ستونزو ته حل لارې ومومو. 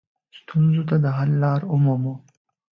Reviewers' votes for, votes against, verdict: 2, 0, accepted